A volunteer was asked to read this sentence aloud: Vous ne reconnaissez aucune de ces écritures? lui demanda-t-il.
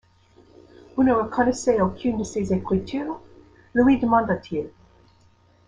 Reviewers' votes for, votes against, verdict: 2, 0, accepted